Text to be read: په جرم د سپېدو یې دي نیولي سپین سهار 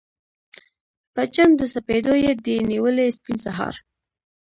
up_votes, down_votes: 1, 2